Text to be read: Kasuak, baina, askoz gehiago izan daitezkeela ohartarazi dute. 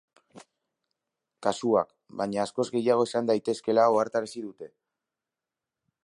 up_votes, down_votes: 6, 0